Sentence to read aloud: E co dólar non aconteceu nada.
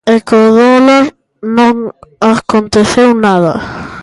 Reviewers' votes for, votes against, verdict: 1, 2, rejected